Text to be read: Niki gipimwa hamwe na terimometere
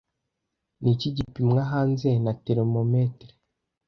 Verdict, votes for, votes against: rejected, 1, 2